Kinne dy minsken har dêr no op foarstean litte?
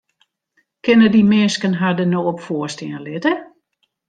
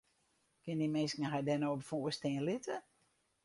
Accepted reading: first